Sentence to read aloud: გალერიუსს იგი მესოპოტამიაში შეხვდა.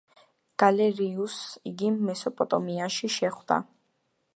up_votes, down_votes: 1, 2